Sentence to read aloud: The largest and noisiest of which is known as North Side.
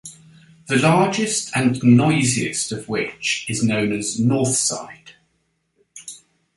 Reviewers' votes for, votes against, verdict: 2, 0, accepted